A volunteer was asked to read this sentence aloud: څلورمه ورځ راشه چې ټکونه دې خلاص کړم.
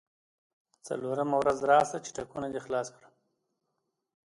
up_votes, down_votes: 0, 2